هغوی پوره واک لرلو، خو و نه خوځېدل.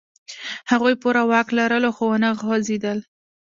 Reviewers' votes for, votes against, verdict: 2, 0, accepted